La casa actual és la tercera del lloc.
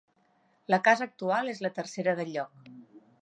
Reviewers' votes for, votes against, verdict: 3, 0, accepted